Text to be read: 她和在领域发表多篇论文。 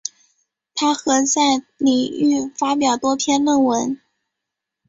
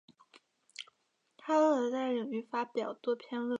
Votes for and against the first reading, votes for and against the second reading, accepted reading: 2, 0, 1, 2, first